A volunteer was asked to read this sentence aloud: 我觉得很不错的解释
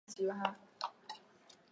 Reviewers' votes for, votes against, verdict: 0, 3, rejected